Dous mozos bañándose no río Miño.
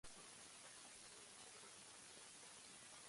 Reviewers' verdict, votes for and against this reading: rejected, 0, 3